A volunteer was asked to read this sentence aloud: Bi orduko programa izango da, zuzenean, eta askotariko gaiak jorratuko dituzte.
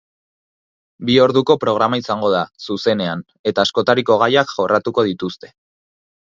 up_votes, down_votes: 6, 0